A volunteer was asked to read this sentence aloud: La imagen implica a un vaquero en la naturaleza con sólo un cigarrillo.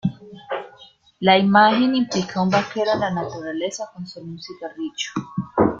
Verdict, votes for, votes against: accepted, 2, 0